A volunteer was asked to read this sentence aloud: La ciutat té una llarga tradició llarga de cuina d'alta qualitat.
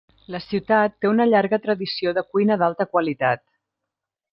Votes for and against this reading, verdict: 0, 2, rejected